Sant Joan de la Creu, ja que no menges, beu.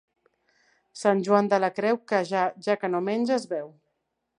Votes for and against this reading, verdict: 1, 3, rejected